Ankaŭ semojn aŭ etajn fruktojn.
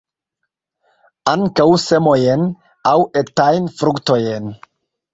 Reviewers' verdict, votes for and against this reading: rejected, 0, 2